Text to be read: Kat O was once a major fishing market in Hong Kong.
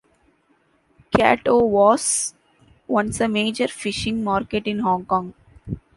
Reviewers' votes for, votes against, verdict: 2, 0, accepted